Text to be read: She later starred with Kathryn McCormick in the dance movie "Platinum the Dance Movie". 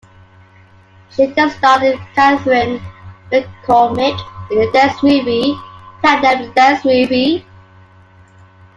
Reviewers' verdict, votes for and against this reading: rejected, 1, 2